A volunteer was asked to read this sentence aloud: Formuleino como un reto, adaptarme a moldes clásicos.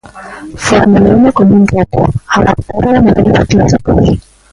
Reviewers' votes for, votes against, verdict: 0, 2, rejected